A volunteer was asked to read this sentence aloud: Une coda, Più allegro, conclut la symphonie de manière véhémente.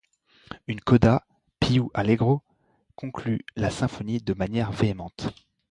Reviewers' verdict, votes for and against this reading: accepted, 2, 0